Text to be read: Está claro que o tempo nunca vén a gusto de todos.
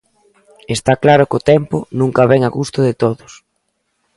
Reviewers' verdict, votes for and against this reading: accepted, 2, 0